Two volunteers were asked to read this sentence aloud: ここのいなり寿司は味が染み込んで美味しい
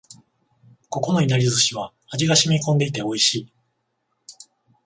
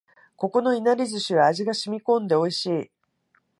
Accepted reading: second